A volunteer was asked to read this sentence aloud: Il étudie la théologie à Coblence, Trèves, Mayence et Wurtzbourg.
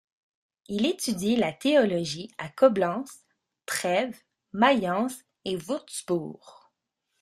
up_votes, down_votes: 1, 2